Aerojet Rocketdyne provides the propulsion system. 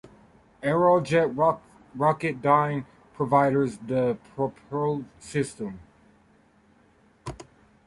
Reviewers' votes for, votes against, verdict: 0, 4, rejected